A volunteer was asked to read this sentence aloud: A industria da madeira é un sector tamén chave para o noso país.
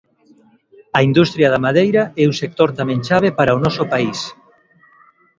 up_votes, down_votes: 2, 0